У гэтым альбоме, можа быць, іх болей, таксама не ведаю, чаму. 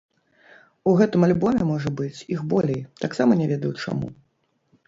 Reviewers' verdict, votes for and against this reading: rejected, 0, 2